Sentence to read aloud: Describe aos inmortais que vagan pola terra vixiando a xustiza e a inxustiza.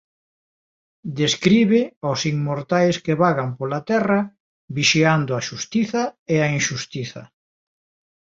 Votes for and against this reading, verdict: 2, 1, accepted